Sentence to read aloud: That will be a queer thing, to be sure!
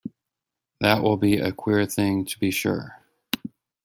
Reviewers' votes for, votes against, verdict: 2, 0, accepted